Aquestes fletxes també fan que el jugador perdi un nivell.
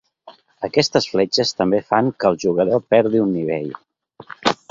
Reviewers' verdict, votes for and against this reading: accepted, 2, 0